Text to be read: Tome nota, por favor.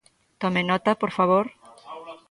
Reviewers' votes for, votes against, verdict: 0, 2, rejected